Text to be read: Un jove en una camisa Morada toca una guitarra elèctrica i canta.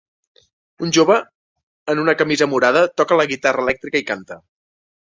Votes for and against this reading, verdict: 2, 3, rejected